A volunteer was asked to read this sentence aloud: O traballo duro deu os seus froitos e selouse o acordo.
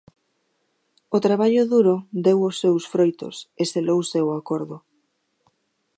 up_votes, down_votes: 2, 0